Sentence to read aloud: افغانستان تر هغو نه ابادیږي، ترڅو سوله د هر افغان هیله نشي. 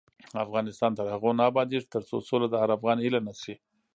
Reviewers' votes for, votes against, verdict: 1, 2, rejected